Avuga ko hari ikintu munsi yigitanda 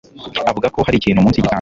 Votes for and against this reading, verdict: 1, 2, rejected